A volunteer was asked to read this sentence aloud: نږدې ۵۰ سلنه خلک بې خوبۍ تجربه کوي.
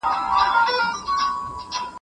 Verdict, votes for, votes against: rejected, 0, 2